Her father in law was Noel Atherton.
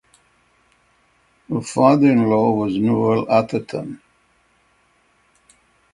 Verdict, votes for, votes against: rejected, 3, 3